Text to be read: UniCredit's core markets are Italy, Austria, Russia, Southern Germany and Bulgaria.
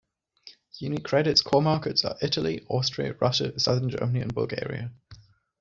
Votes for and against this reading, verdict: 2, 0, accepted